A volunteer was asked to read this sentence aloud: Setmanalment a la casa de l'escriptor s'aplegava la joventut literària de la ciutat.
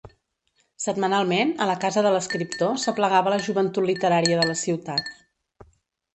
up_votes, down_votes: 2, 3